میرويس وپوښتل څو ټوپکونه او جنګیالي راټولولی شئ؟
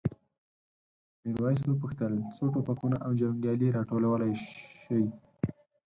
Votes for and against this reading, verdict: 0, 4, rejected